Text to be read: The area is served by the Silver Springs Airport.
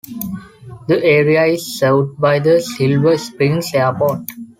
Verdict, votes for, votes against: accepted, 2, 0